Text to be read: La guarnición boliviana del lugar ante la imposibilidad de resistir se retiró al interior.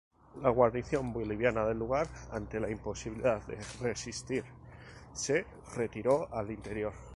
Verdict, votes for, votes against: rejected, 0, 2